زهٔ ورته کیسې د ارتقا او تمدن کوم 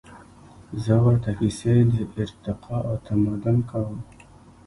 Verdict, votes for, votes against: rejected, 0, 2